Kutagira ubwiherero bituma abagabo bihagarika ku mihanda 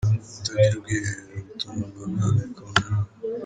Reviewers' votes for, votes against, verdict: 1, 2, rejected